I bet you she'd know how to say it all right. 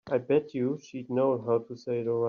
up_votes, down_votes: 0, 3